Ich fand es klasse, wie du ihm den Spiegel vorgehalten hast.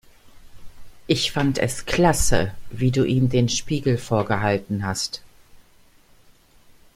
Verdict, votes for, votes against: accepted, 2, 0